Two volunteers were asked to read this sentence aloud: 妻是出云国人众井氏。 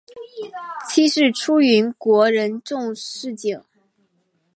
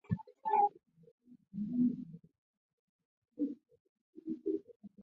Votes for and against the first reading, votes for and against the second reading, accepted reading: 5, 1, 0, 3, first